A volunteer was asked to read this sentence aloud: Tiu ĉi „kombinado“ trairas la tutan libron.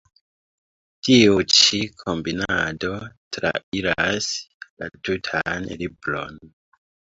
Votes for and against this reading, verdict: 2, 1, accepted